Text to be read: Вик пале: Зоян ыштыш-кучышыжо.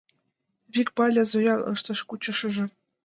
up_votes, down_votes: 0, 2